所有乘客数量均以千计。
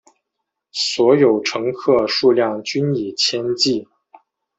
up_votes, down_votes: 2, 0